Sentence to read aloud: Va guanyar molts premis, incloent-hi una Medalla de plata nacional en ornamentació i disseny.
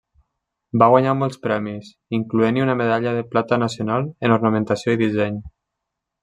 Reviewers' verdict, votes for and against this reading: accepted, 3, 0